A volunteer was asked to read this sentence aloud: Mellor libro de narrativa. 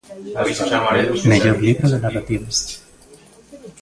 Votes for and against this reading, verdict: 1, 2, rejected